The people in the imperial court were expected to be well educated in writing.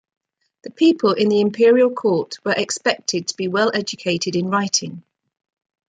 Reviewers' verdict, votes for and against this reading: accepted, 2, 0